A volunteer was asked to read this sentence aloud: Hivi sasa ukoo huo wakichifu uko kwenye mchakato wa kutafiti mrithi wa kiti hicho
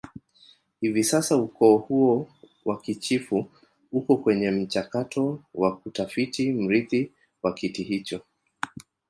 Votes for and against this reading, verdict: 2, 1, accepted